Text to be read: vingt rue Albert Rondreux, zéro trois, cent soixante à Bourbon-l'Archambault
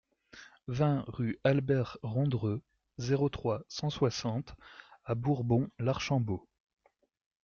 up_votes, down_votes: 2, 0